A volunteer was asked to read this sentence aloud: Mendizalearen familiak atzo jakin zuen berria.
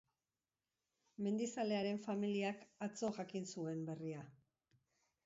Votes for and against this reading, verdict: 2, 1, accepted